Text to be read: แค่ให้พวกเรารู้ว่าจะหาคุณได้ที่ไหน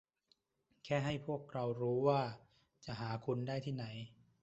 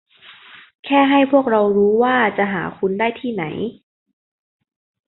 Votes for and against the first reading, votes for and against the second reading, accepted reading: 1, 2, 2, 0, second